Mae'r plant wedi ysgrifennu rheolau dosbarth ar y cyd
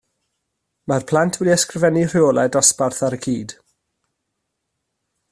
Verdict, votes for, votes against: accepted, 2, 0